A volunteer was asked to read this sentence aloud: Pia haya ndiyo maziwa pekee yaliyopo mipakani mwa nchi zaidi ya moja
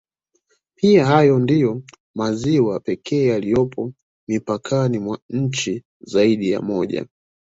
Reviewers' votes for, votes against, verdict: 1, 2, rejected